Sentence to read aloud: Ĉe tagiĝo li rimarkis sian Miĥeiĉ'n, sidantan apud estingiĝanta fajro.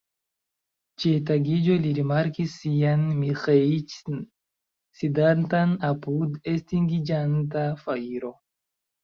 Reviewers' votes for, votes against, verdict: 1, 2, rejected